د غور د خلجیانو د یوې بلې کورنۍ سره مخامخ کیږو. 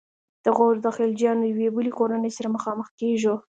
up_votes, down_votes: 0, 2